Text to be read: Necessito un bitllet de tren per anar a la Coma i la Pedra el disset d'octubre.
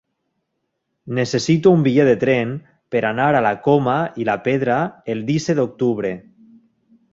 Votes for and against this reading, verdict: 1, 2, rejected